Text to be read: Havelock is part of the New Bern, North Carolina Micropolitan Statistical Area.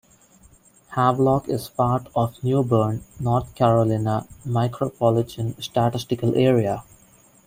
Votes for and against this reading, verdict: 0, 2, rejected